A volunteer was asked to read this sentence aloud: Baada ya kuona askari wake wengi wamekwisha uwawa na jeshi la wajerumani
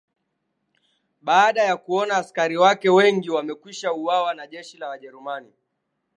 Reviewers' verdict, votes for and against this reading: accepted, 2, 0